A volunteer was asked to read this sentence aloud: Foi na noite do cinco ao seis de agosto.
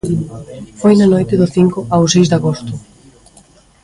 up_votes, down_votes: 2, 0